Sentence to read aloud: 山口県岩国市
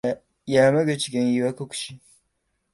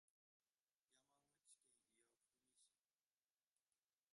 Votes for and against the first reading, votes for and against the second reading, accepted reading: 2, 0, 0, 2, first